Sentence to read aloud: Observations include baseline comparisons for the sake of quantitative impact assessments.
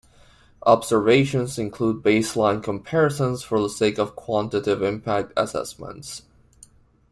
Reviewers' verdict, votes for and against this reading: accepted, 2, 0